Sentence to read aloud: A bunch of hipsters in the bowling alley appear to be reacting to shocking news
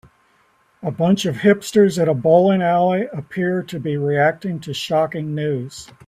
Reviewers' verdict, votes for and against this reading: rejected, 0, 2